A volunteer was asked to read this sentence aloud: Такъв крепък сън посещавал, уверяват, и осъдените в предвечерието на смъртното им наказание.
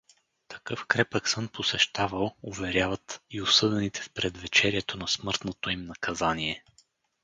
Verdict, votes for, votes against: rejected, 2, 2